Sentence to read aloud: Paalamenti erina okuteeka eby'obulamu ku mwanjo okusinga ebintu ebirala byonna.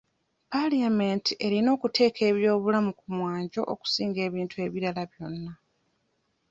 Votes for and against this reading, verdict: 0, 2, rejected